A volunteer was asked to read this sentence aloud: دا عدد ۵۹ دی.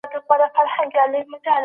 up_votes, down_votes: 0, 2